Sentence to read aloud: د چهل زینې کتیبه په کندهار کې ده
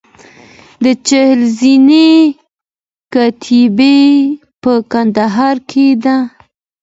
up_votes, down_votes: 2, 0